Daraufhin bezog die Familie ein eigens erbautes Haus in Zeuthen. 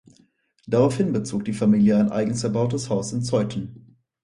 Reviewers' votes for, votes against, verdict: 4, 0, accepted